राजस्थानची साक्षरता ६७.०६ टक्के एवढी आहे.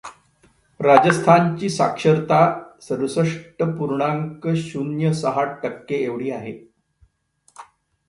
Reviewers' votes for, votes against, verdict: 0, 2, rejected